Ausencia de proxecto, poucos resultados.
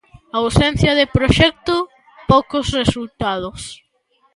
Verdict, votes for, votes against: rejected, 1, 2